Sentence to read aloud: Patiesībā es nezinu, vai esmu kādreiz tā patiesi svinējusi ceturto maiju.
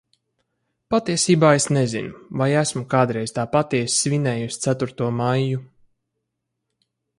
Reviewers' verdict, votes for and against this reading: accepted, 4, 0